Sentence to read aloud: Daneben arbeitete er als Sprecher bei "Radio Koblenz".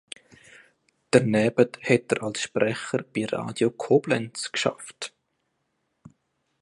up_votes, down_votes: 0, 2